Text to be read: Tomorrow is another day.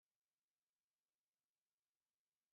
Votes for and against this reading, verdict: 0, 2, rejected